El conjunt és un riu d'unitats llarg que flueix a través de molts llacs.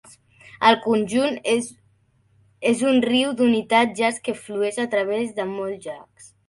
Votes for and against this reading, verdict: 0, 2, rejected